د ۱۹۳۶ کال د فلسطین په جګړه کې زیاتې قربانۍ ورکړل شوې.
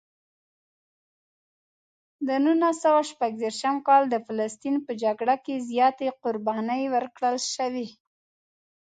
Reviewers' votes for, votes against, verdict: 0, 2, rejected